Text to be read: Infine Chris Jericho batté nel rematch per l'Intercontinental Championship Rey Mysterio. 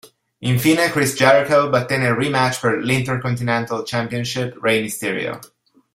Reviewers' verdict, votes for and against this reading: rejected, 1, 2